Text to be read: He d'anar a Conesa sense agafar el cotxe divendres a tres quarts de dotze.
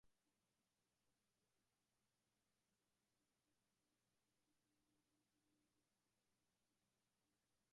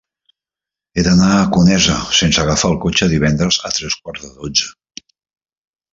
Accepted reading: second